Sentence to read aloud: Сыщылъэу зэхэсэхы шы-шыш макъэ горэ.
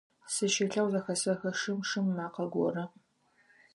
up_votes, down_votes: 0, 4